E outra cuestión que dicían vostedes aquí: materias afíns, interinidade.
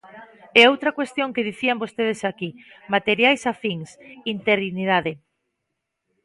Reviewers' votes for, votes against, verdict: 1, 2, rejected